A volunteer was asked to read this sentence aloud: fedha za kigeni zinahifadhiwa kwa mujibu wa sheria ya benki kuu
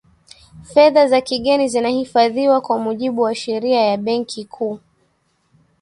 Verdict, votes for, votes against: accepted, 2, 0